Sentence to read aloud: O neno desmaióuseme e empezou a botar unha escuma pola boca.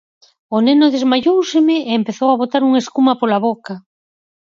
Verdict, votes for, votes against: accepted, 4, 0